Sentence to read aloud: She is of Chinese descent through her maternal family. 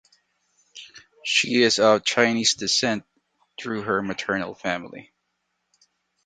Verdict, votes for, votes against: accepted, 2, 0